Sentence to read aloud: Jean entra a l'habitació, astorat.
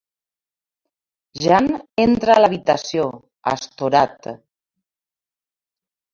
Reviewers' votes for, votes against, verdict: 0, 2, rejected